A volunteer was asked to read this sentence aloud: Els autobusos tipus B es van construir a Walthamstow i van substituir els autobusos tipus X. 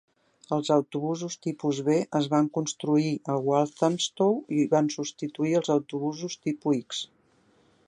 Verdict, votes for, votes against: rejected, 0, 2